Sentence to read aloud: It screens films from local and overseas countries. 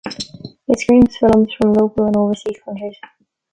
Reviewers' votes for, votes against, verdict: 2, 0, accepted